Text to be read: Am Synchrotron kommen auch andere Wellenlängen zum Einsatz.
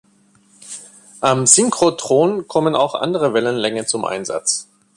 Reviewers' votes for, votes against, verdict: 2, 0, accepted